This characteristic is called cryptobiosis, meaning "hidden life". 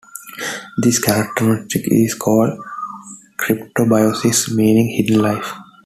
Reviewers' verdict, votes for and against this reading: accepted, 3, 2